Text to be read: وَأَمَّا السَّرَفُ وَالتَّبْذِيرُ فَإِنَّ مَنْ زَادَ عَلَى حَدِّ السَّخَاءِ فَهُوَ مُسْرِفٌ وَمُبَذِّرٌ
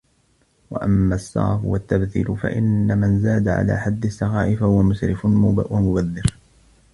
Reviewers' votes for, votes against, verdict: 1, 2, rejected